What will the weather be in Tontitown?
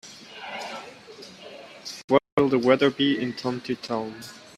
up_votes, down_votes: 0, 2